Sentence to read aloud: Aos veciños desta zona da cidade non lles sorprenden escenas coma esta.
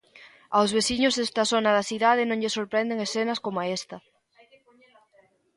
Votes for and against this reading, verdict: 1, 2, rejected